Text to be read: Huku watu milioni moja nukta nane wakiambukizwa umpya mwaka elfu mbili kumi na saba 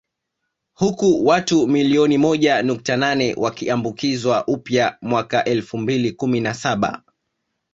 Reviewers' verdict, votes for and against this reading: accepted, 2, 1